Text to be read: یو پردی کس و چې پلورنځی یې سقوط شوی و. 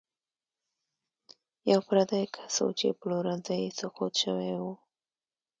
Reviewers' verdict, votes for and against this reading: rejected, 1, 2